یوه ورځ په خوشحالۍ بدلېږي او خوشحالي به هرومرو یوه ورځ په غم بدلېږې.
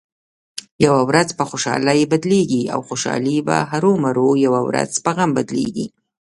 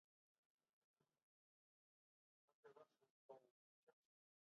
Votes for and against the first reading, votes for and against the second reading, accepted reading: 2, 1, 1, 2, first